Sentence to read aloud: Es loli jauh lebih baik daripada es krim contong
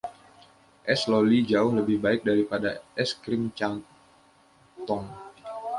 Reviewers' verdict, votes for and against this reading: rejected, 0, 2